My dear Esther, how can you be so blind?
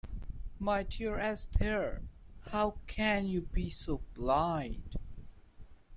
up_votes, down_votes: 0, 2